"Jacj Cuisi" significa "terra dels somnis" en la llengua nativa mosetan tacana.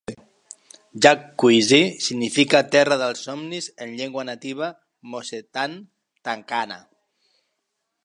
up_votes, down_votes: 1, 3